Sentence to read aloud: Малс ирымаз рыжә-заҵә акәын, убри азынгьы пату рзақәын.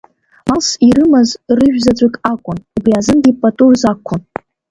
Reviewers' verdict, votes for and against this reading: rejected, 1, 2